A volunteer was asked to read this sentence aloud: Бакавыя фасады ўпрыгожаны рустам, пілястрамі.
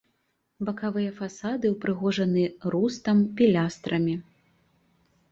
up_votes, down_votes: 2, 0